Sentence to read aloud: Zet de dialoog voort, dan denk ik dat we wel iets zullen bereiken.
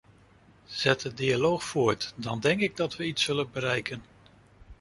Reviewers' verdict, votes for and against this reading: rejected, 1, 2